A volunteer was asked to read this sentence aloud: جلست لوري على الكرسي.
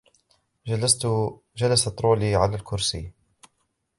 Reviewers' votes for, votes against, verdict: 0, 2, rejected